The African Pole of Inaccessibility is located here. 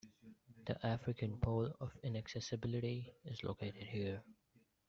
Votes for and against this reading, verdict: 2, 1, accepted